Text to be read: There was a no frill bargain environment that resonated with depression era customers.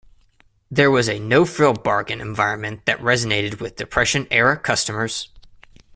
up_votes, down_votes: 2, 0